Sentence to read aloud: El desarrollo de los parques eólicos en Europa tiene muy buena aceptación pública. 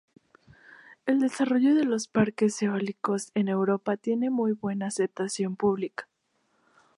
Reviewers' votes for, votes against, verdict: 2, 0, accepted